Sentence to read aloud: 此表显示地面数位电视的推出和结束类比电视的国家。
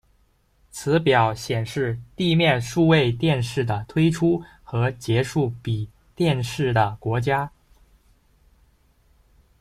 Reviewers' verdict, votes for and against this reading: rejected, 1, 2